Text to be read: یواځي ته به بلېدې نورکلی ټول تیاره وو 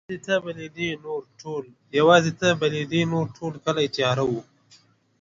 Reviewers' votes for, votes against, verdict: 1, 3, rejected